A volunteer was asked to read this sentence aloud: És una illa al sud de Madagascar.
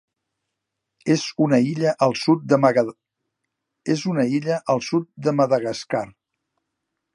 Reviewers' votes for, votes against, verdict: 1, 2, rejected